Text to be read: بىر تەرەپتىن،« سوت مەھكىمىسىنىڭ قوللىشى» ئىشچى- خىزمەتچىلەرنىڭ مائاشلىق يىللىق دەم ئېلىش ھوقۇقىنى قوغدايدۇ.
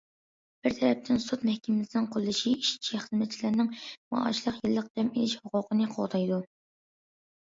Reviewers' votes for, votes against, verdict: 2, 0, accepted